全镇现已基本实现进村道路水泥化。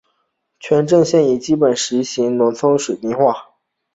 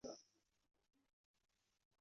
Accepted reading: first